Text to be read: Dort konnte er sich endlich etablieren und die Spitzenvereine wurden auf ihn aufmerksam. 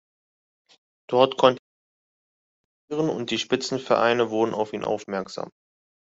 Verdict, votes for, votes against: rejected, 0, 2